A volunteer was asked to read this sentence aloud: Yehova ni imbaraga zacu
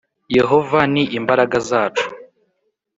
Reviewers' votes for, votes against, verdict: 2, 0, accepted